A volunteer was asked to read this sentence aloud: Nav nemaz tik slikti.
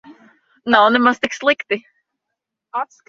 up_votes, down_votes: 1, 2